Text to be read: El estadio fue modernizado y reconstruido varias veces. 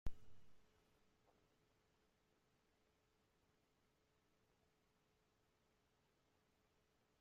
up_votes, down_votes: 0, 2